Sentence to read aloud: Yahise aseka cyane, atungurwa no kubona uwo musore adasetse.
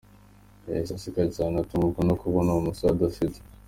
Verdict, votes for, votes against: accepted, 2, 0